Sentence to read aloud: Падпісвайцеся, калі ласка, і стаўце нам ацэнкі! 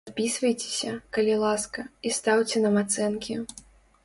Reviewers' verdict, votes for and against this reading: accepted, 2, 0